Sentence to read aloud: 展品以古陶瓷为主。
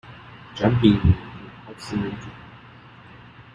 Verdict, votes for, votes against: rejected, 1, 2